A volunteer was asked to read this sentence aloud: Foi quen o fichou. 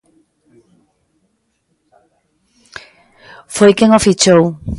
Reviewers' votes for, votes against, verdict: 2, 0, accepted